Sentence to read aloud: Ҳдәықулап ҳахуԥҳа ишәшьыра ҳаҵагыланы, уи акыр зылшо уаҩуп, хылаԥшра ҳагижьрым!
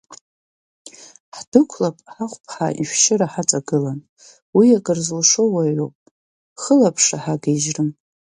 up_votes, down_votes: 2, 1